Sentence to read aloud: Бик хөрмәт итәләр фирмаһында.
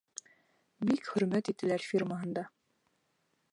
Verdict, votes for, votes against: rejected, 0, 2